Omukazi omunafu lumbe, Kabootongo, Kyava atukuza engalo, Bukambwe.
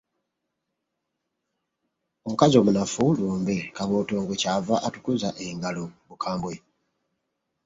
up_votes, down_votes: 2, 1